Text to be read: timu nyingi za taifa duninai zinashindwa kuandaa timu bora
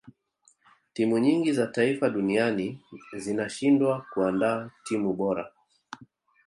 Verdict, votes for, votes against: rejected, 1, 2